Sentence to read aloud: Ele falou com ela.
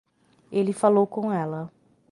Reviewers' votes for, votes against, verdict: 3, 0, accepted